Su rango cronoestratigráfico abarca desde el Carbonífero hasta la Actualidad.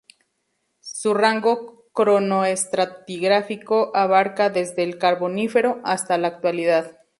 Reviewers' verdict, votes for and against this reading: accepted, 2, 0